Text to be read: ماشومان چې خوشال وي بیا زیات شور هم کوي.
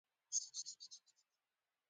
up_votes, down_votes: 1, 2